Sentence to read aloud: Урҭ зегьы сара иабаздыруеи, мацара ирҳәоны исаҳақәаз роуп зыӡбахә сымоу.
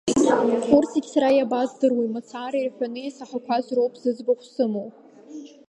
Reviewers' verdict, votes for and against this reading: rejected, 1, 2